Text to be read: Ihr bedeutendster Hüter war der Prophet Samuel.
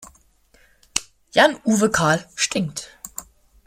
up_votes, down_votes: 0, 2